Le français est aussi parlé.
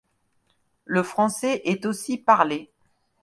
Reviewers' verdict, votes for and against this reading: accepted, 2, 0